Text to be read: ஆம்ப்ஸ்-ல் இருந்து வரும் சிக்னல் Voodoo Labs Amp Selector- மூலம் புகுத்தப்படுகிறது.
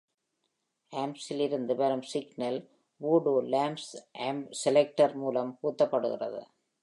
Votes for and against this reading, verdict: 1, 2, rejected